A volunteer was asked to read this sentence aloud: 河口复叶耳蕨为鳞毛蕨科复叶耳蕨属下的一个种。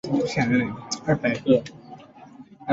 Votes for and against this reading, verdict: 1, 2, rejected